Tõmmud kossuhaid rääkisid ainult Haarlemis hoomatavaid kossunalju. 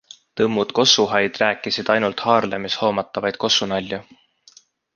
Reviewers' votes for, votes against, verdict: 2, 0, accepted